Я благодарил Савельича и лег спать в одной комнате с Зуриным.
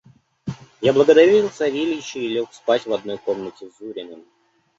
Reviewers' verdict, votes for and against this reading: rejected, 1, 2